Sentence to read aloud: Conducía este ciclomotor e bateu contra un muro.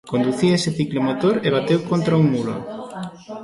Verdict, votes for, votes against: rejected, 1, 2